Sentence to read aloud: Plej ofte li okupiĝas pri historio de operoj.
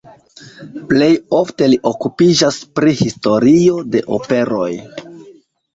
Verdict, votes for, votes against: accepted, 2, 0